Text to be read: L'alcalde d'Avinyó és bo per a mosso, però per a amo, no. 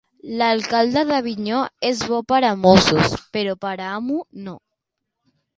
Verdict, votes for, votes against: rejected, 1, 2